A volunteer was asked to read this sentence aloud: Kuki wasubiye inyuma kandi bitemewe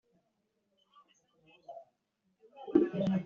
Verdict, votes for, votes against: rejected, 0, 2